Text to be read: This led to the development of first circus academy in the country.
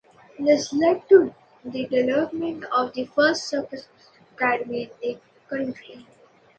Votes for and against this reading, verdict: 0, 2, rejected